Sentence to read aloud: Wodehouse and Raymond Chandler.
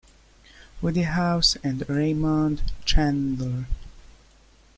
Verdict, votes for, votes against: rejected, 1, 3